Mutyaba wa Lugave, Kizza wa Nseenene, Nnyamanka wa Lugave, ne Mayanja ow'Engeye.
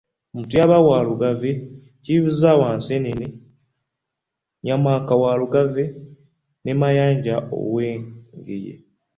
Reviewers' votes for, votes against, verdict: 3, 0, accepted